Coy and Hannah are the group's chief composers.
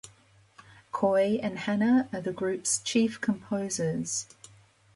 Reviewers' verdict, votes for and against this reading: accepted, 2, 0